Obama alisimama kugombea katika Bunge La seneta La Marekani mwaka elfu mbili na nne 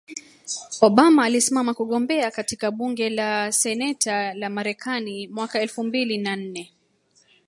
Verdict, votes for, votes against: rejected, 0, 2